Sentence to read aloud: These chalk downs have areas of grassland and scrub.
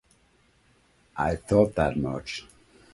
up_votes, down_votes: 0, 2